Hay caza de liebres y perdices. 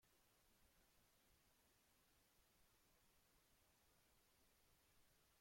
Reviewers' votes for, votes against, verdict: 0, 2, rejected